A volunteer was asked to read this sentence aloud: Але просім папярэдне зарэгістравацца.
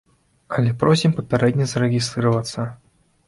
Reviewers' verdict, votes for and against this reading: rejected, 0, 2